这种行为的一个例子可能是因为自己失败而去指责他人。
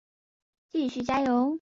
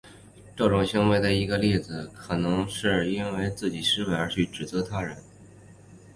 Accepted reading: second